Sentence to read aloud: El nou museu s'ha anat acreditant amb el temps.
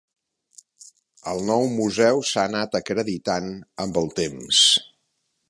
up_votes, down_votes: 3, 0